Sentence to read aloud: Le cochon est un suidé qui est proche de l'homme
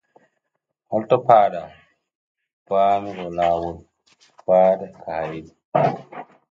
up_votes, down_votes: 0, 2